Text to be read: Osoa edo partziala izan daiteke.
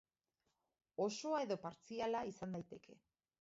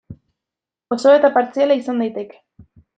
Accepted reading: first